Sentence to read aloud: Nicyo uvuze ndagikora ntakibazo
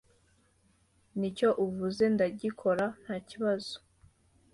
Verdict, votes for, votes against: accepted, 2, 0